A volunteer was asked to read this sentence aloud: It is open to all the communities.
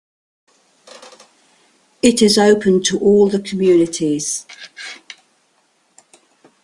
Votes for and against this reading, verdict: 2, 0, accepted